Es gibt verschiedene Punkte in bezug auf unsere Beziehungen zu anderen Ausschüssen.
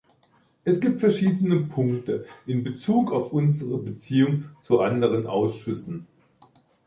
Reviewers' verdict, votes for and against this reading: rejected, 1, 2